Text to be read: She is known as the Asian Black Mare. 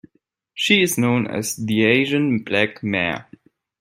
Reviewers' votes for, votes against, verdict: 2, 0, accepted